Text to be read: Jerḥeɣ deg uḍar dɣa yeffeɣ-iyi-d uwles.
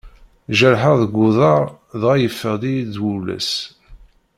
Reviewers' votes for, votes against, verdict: 0, 2, rejected